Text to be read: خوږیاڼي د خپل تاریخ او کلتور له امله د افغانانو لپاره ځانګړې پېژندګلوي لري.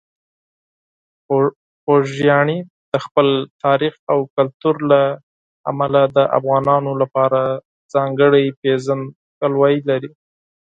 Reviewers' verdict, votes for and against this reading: accepted, 4, 0